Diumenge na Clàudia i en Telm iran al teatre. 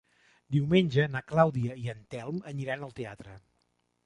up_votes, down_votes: 1, 2